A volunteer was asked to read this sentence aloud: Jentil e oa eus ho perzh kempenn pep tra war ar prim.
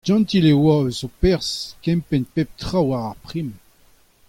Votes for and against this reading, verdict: 0, 2, rejected